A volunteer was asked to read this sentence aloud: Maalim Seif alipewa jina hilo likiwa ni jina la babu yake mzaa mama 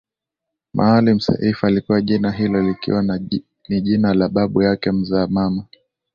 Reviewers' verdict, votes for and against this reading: rejected, 0, 2